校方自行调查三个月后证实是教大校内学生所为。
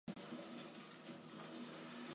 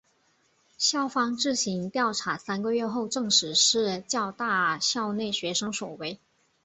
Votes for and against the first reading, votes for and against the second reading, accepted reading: 1, 2, 8, 2, second